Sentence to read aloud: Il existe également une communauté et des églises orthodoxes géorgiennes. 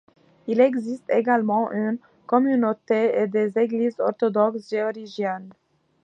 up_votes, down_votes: 2, 0